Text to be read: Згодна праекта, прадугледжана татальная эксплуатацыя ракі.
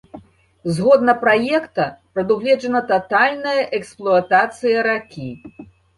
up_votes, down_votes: 2, 0